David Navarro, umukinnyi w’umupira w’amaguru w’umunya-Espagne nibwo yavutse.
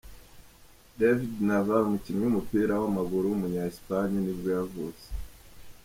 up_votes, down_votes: 1, 2